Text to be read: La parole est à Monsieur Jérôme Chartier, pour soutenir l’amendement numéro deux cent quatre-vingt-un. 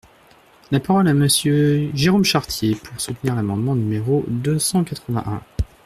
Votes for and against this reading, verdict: 0, 2, rejected